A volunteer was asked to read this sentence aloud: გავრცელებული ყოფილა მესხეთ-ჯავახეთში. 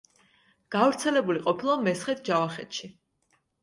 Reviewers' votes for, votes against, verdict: 2, 0, accepted